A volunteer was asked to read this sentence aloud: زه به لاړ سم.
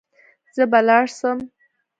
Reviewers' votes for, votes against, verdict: 2, 0, accepted